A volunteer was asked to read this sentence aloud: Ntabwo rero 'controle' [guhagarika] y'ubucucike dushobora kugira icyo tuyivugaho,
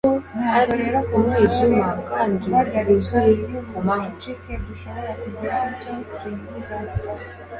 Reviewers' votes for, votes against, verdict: 0, 2, rejected